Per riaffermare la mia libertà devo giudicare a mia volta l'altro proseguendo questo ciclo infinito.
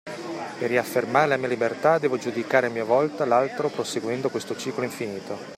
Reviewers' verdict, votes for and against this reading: rejected, 0, 2